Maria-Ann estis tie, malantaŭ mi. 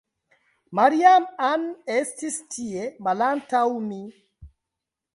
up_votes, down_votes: 0, 2